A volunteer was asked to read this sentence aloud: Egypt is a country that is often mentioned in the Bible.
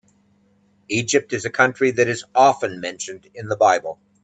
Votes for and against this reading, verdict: 2, 0, accepted